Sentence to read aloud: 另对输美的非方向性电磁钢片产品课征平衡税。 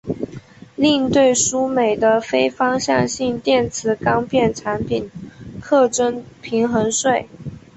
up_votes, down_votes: 2, 0